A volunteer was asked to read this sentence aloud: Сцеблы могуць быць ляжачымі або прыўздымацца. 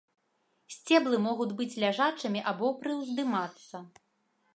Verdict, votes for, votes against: rejected, 0, 2